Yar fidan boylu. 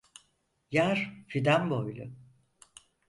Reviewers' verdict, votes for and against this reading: accepted, 6, 0